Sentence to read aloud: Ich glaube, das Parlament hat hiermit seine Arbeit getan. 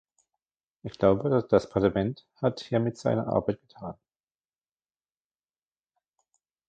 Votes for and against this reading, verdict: 0, 2, rejected